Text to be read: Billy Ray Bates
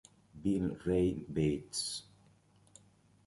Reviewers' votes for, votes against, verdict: 1, 2, rejected